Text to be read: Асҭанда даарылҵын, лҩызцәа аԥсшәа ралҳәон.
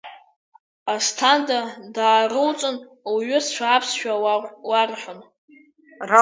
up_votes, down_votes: 0, 2